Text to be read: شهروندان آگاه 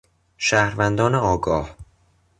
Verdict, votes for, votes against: accepted, 3, 0